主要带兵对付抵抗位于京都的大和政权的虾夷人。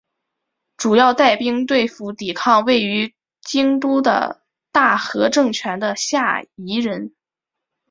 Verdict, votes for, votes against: rejected, 2, 3